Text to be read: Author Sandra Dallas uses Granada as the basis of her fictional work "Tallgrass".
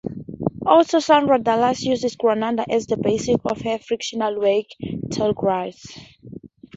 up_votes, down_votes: 2, 0